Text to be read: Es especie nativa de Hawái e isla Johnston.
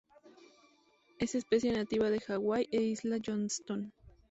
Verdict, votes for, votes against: accepted, 4, 0